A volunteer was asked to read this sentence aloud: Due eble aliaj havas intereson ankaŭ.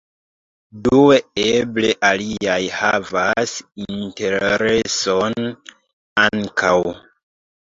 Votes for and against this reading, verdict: 0, 2, rejected